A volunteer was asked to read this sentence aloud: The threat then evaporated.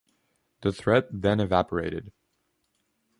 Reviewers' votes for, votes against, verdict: 2, 0, accepted